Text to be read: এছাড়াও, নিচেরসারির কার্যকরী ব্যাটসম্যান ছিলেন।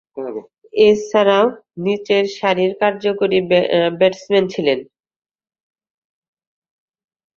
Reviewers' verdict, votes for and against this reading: rejected, 1, 2